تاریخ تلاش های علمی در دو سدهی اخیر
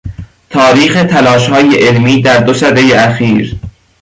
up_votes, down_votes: 3, 0